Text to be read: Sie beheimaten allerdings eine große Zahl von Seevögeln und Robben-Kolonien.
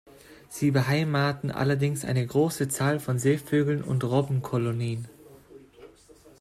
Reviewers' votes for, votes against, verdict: 2, 0, accepted